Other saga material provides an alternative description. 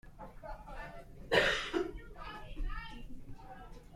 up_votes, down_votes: 1, 2